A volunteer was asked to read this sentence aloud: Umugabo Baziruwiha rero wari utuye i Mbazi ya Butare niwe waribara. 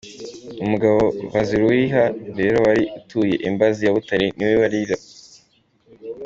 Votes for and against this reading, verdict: 1, 2, rejected